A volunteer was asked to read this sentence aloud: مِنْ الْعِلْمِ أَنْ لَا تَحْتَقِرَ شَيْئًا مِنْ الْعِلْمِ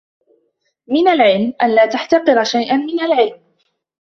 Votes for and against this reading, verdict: 2, 0, accepted